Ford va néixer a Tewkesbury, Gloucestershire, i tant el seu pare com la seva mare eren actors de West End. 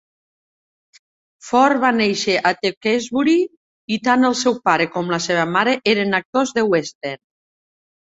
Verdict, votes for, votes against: rejected, 0, 2